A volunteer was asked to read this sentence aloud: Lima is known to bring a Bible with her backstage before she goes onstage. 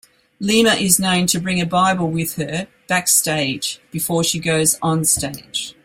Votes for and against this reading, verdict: 2, 0, accepted